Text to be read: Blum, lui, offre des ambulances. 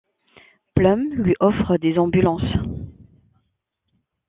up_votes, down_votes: 0, 2